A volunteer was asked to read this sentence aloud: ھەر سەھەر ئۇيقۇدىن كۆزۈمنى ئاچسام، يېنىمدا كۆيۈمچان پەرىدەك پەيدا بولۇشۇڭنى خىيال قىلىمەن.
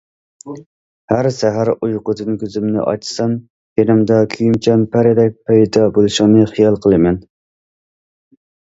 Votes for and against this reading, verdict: 2, 0, accepted